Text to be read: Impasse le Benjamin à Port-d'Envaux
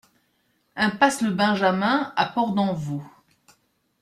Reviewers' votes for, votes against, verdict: 2, 0, accepted